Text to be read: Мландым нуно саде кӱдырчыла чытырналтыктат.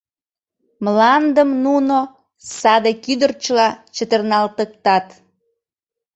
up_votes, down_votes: 3, 0